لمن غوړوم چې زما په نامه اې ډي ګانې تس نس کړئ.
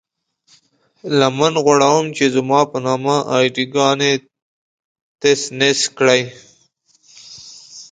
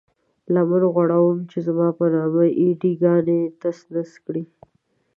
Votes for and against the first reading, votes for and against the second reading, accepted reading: 2, 0, 1, 2, first